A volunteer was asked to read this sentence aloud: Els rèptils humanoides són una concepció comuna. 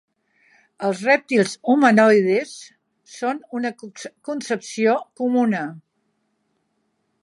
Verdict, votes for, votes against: rejected, 1, 2